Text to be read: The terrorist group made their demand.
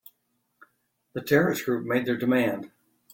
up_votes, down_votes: 2, 0